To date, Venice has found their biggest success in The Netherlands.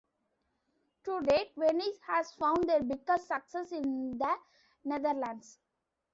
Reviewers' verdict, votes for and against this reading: rejected, 1, 2